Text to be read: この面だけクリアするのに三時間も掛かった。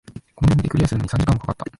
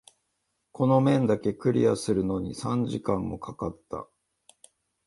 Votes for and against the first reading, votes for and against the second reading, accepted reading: 1, 2, 2, 0, second